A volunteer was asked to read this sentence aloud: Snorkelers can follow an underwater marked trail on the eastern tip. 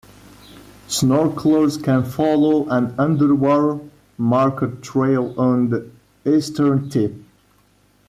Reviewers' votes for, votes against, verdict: 1, 2, rejected